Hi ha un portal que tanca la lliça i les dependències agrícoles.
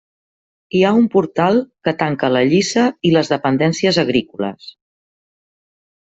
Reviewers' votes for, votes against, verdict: 3, 0, accepted